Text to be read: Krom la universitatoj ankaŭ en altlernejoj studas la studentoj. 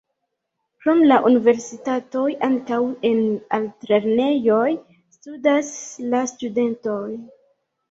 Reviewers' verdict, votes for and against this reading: rejected, 1, 2